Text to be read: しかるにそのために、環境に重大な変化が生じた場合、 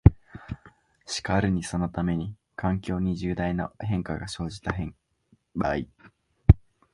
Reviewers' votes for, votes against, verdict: 2, 1, accepted